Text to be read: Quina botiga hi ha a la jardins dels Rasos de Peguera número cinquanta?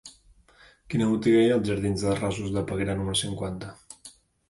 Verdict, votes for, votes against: rejected, 0, 2